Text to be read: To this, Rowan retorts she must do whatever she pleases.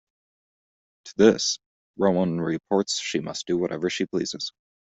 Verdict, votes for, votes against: rejected, 1, 2